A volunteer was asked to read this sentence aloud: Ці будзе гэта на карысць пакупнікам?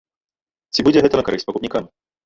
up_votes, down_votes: 1, 2